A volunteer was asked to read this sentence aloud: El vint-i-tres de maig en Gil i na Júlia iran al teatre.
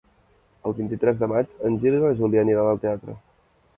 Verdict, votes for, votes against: rejected, 0, 2